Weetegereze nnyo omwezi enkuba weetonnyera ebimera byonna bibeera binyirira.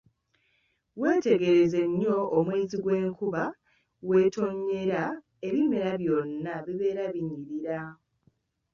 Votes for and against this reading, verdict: 0, 2, rejected